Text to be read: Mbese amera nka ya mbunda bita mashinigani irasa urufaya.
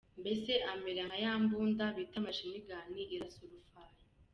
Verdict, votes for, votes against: accepted, 2, 0